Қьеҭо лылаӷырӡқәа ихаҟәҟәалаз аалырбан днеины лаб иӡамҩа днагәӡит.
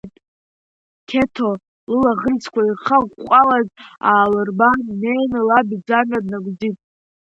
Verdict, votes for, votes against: rejected, 0, 2